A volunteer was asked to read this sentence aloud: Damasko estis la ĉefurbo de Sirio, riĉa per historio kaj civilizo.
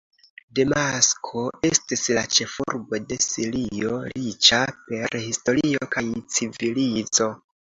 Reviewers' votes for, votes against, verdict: 1, 2, rejected